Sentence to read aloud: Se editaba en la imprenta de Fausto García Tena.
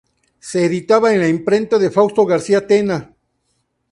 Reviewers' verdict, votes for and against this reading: accepted, 2, 0